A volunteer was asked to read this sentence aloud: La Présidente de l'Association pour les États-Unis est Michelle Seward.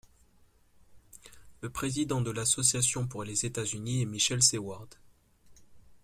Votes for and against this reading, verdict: 0, 2, rejected